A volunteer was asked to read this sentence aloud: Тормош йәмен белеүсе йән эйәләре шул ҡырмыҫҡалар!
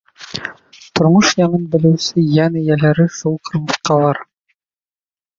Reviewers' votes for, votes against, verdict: 1, 2, rejected